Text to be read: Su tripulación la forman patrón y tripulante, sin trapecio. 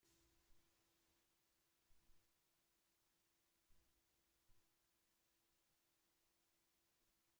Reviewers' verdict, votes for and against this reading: rejected, 0, 3